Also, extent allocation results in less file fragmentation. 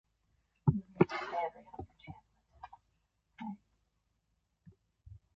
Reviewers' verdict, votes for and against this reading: rejected, 0, 2